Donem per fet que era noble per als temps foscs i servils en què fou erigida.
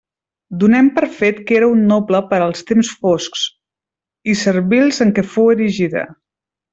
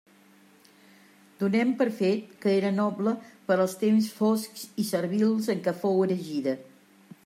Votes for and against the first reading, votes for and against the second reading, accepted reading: 0, 2, 3, 0, second